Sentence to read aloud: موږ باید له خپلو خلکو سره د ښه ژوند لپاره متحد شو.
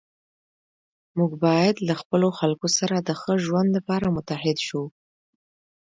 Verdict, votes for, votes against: rejected, 1, 2